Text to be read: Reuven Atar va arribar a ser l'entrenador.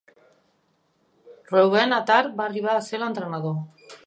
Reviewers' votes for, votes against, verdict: 2, 0, accepted